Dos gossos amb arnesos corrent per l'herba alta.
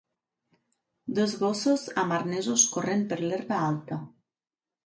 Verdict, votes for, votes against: accepted, 2, 0